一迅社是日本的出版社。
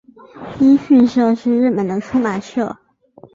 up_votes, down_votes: 2, 1